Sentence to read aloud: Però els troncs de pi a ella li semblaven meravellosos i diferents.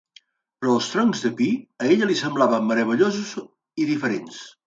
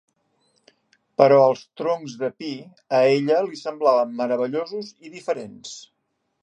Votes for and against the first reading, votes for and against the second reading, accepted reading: 1, 2, 2, 0, second